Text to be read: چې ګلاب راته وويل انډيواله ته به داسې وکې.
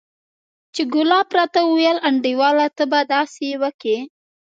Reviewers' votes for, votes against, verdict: 3, 0, accepted